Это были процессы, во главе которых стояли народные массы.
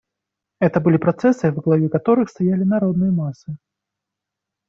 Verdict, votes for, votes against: accepted, 2, 0